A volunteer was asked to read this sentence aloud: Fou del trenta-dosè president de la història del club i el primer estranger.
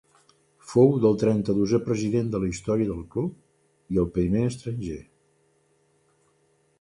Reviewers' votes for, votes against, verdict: 2, 0, accepted